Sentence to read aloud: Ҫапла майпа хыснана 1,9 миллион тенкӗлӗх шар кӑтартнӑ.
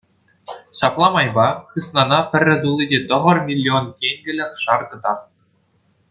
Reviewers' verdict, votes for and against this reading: rejected, 0, 2